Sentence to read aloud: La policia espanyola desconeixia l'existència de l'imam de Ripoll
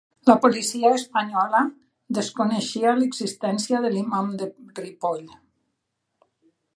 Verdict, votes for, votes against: rejected, 1, 2